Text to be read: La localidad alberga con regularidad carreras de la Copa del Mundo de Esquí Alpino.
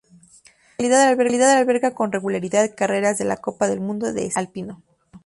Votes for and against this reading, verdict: 0, 2, rejected